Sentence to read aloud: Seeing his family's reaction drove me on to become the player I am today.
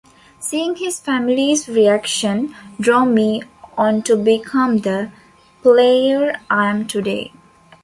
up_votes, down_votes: 2, 0